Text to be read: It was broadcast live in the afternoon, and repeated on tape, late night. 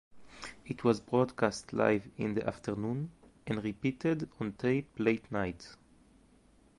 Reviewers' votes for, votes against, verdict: 2, 0, accepted